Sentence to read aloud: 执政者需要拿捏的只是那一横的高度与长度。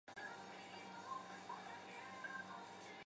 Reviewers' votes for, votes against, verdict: 0, 5, rejected